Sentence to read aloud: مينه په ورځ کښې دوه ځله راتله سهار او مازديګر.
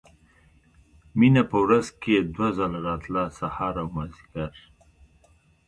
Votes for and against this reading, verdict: 0, 2, rejected